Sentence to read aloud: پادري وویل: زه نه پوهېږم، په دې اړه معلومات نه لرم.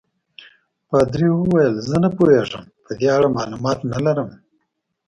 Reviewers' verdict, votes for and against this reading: accepted, 2, 0